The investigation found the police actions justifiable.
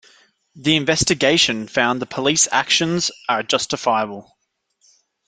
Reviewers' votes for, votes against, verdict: 0, 2, rejected